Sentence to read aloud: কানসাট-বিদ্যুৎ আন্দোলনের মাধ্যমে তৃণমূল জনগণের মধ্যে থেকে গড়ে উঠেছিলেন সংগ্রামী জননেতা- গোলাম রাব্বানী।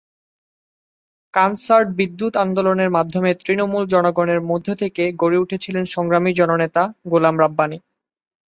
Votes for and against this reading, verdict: 2, 0, accepted